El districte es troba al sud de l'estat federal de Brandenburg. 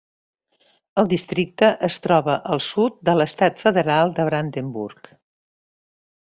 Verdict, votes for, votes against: accepted, 3, 0